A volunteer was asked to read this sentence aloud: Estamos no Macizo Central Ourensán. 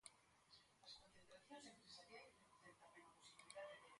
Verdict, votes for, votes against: rejected, 0, 2